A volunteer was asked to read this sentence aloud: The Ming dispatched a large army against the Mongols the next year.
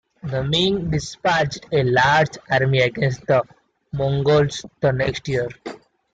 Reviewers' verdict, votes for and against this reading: accepted, 2, 0